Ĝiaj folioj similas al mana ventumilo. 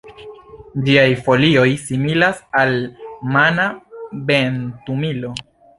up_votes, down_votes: 1, 2